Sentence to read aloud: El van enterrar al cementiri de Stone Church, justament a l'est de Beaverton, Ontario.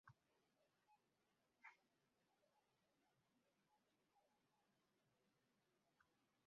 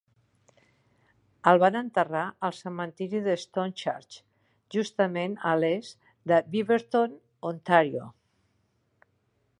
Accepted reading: second